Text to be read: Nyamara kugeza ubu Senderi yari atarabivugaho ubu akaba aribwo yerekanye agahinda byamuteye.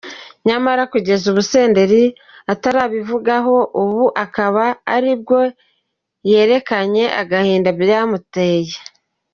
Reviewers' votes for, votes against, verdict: 2, 4, rejected